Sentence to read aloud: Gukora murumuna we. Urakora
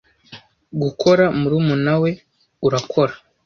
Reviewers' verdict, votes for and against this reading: accepted, 2, 0